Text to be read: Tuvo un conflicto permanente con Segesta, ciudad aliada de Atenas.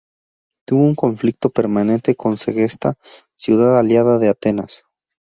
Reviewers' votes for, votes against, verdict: 0, 2, rejected